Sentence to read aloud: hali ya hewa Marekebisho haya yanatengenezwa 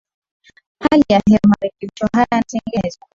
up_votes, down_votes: 0, 2